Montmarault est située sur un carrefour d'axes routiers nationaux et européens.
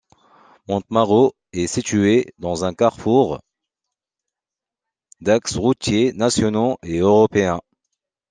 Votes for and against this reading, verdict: 0, 2, rejected